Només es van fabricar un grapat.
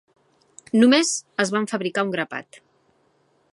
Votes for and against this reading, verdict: 4, 0, accepted